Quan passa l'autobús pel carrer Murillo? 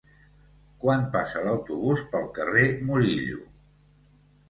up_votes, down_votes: 0, 2